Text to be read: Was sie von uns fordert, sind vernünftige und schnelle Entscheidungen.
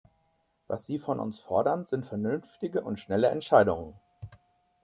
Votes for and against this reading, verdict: 0, 2, rejected